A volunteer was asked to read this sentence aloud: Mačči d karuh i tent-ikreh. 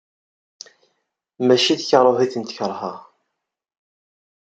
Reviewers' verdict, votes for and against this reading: accepted, 2, 0